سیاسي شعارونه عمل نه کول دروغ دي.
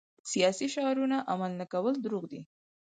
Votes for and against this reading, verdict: 4, 0, accepted